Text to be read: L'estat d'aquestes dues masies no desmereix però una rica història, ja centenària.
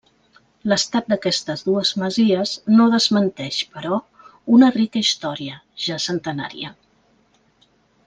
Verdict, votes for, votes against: rejected, 1, 2